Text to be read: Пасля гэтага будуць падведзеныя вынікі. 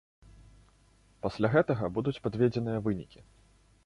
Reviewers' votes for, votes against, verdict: 2, 0, accepted